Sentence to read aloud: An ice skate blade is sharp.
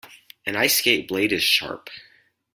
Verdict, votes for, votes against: accepted, 4, 0